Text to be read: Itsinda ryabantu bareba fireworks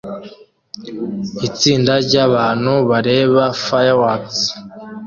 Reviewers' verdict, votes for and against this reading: accepted, 2, 0